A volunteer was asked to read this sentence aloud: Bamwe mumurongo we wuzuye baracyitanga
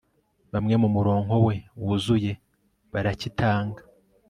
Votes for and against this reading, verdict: 2, 0, accepted